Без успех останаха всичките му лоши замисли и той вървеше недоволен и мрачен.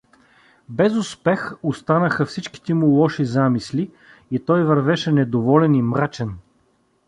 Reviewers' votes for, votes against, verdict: 2, 0, accepted